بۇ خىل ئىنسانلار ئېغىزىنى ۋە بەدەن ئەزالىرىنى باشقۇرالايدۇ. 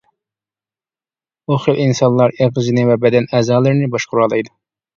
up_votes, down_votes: 2, 1